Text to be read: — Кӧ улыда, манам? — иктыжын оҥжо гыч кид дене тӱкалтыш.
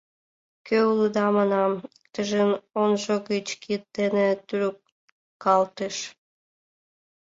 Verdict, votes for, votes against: rejected, 1, 4